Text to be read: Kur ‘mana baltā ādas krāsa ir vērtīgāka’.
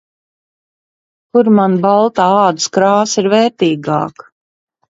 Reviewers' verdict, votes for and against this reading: rejected, 1, 2